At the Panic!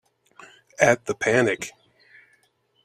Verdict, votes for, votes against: accepted, 2, 0